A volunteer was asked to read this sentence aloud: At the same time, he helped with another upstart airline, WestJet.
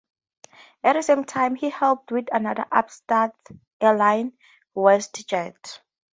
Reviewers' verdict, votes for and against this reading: accepted, 2, 0